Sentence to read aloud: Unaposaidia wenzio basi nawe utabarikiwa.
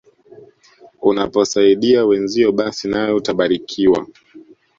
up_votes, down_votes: 2, 0